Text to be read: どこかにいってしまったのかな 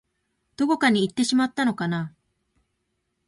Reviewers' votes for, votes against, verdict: 1, 2, rejected